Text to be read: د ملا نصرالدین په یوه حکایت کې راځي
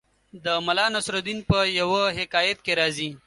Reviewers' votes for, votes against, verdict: 2, 0, accepted